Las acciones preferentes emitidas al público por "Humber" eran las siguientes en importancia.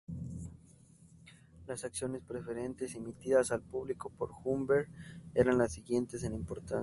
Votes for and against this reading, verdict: 2, 2, rejected